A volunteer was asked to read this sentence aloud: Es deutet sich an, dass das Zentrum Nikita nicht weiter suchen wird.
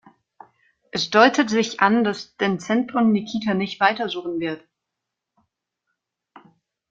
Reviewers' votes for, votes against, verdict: 0, 2, rejected